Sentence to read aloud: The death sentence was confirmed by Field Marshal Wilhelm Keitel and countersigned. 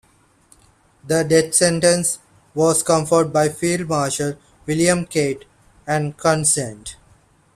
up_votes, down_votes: 0, 2